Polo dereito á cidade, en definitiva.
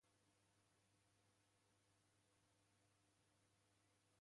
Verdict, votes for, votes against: rejected, 0, 3